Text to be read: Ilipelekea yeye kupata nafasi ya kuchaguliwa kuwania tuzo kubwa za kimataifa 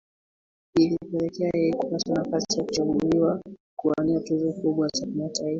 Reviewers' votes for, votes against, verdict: 1, 2, rejected